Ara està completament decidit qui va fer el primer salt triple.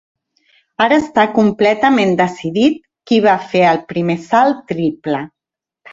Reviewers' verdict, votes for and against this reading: accepted, 3, 0